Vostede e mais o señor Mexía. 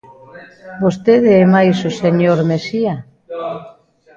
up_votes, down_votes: 1, 2